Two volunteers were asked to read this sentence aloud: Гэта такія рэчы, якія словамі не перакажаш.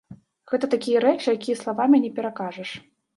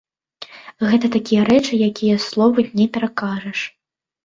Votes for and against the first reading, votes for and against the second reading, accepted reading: 0, 2, 2, 0, second